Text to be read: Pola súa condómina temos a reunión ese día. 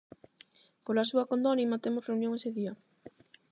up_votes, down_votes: 4, 4